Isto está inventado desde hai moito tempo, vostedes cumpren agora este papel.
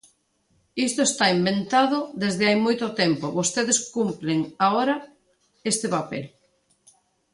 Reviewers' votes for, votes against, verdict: 1, 2, rejected